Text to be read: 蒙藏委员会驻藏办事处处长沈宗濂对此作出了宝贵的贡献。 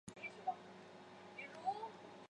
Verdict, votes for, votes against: rejected, 1, 4